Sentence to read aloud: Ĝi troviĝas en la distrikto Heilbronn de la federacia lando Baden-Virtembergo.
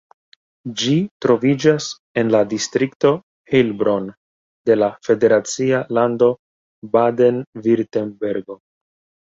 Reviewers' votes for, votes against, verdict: 2, 1, accepted